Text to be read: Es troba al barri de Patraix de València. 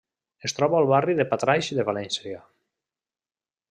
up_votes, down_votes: 2, 0